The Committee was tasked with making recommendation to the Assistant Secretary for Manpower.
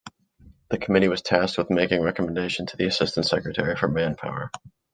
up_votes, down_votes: 2, 0